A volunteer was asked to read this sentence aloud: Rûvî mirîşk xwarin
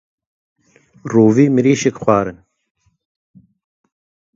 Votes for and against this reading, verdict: 0, 2, rejected